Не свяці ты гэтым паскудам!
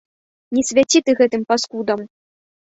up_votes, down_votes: 2, 0